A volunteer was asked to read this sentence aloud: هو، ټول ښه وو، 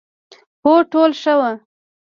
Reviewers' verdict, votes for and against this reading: rejected, 0, 2